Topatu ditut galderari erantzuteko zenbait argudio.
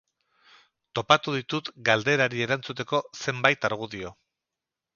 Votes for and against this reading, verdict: 0, 2, rejected